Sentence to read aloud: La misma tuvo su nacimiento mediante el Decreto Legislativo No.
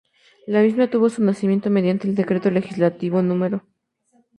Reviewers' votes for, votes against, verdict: 2, 0, accepted